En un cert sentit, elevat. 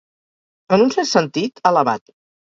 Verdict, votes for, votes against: rejected, 2, 2